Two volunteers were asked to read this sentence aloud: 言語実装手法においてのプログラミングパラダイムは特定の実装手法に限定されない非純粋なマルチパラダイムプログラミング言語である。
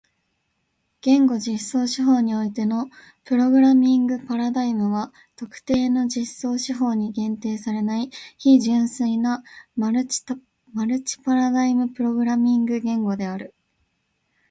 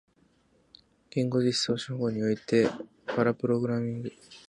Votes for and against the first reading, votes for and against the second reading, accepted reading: 2, 1, 1, 3, first